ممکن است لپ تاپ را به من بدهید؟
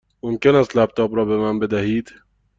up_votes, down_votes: 2, 0